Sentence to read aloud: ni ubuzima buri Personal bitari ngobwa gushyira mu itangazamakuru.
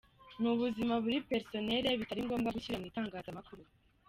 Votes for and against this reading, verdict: 2, 1, accepted